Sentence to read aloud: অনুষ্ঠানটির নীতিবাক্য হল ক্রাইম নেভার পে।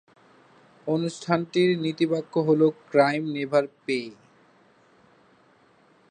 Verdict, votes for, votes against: accepted, 2, 0